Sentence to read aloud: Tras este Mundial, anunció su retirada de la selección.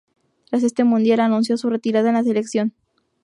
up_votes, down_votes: 0, 2